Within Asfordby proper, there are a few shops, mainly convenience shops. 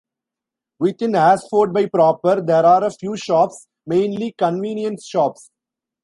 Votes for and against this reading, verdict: 0, 2, rejected